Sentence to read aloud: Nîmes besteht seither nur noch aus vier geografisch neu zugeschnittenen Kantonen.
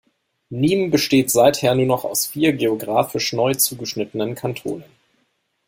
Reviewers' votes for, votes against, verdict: 2, 0, accepted